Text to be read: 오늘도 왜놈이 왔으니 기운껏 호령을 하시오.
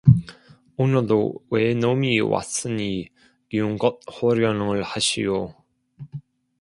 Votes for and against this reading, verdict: 0, 2, rejected